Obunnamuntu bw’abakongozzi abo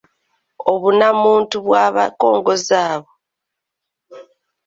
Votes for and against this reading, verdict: 1, 2, rejected